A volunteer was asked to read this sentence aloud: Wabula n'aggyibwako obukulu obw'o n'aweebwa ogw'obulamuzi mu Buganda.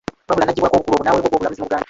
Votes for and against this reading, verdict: 0, 2, rejected